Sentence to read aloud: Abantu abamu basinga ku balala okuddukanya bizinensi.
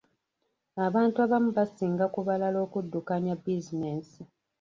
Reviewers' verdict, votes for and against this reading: rejected, 1, 2